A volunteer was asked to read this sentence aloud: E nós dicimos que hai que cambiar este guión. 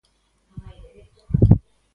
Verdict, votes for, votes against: rejected, 0, 2